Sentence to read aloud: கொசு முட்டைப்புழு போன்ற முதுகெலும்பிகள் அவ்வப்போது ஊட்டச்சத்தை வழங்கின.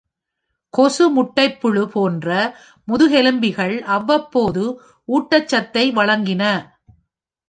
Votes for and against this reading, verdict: 2, 0, accepted